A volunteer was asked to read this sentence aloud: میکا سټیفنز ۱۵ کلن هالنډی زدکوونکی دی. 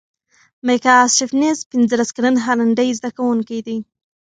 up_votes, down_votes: 0, 2